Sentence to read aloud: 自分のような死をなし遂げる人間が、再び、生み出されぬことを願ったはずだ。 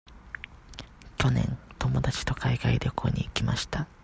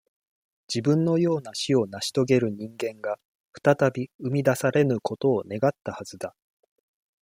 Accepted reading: second